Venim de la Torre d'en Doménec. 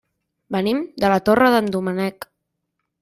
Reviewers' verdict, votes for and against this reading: rejected, 0, 2